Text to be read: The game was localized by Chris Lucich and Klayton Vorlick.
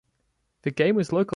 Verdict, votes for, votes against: rejected, 0, 2